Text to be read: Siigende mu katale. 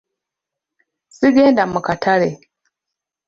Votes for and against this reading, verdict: 0, 2, rejected